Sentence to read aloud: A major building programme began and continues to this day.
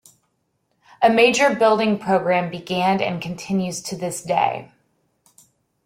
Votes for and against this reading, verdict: 2, 0, accepted